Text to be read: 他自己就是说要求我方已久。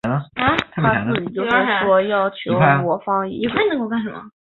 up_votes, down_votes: 1, 3